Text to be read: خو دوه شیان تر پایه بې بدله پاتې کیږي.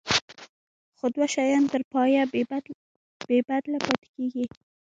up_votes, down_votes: 0, 2